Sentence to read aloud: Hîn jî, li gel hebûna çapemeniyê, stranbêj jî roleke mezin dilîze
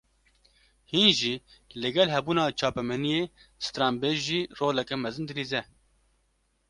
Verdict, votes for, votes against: accepted, 2, 0